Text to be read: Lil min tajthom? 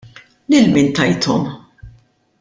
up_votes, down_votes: 2, 0